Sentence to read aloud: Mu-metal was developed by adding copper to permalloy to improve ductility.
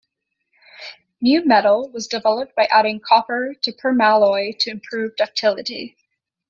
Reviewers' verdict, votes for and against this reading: accepted, 2, 0